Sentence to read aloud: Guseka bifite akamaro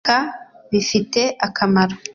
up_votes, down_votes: 1, 2